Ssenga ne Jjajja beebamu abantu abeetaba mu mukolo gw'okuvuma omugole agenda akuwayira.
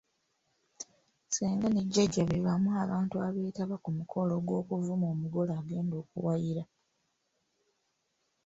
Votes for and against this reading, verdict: 1, 2, rejected